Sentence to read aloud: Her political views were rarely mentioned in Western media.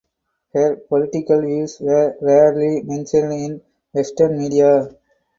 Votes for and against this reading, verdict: 2, 0, accepted